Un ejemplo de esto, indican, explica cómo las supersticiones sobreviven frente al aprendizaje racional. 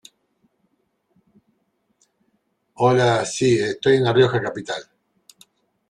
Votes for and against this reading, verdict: 0, 2, rejected